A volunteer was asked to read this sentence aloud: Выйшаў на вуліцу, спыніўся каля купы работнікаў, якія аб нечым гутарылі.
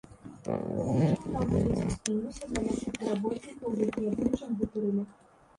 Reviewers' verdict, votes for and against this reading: rejected, 0, 2